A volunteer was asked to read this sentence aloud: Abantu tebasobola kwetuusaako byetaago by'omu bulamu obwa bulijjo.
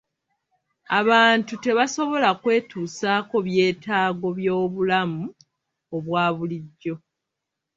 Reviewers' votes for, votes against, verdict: 1, 2, rejected